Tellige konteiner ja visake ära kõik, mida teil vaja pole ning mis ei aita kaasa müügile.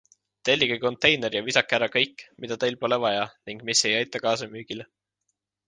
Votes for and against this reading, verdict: 1, 2, rejected